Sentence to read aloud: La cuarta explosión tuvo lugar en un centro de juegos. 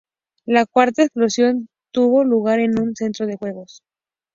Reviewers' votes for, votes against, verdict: 2, 0, accepted